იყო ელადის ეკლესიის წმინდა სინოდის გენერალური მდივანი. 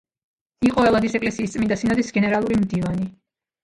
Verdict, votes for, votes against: accepted, 2, 0